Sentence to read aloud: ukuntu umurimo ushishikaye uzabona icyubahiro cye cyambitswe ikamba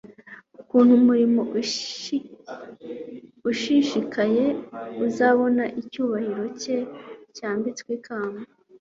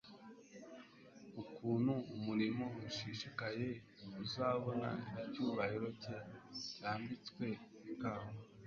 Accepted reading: second